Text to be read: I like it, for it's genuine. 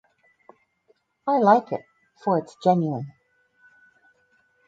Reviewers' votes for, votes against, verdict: 2, 2, rejected